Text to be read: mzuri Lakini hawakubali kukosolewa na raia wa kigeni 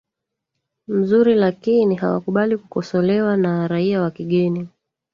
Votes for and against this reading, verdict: 1, 2, rejected